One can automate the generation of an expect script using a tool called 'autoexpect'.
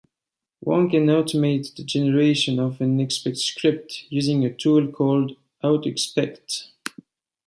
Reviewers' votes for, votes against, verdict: 2, 0, accepted